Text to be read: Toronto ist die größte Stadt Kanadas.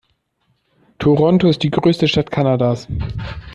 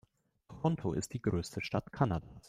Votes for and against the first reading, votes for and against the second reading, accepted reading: 2, 0, 0, 2, first